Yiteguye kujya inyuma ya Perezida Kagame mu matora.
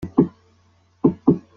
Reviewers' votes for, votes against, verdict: 0, 2, rejected